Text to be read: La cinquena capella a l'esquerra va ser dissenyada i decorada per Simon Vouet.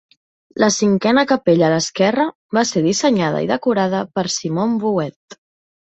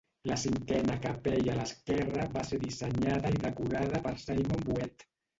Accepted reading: first